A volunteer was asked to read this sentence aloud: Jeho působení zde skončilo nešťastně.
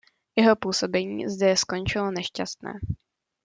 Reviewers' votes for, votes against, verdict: 0, 2, rejected